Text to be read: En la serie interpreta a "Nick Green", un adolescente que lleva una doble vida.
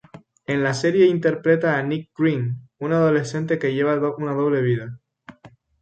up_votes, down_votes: 0, 2